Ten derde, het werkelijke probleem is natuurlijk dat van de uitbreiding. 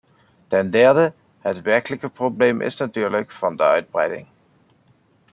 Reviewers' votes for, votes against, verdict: 2, 0, accepted